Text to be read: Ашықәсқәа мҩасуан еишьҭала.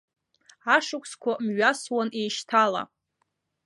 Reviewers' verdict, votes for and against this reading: accepted, 2, 0